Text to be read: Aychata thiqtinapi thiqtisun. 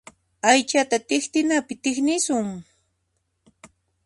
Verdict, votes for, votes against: rejected, 1, 2